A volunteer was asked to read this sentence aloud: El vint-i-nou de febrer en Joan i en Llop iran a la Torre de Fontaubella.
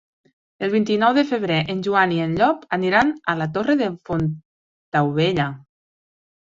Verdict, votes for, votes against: rejected, 1, 2